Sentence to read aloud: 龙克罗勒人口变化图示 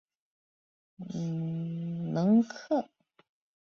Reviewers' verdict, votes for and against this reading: rejected, 0, 2